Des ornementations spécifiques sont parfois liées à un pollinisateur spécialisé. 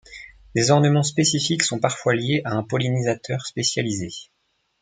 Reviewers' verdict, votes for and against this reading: rejected, 0, 2